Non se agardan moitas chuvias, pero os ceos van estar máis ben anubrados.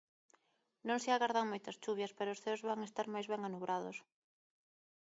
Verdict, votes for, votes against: rejected, 0, 3